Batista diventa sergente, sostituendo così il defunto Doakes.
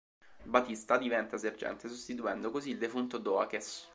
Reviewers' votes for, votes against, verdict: 2, 0, accepted